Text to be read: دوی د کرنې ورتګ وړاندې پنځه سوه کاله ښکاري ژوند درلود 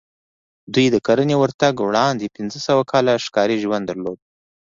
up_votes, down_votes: 2, 0